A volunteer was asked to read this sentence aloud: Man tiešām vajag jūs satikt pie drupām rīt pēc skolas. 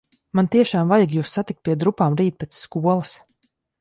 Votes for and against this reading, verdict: 2, 0, accepted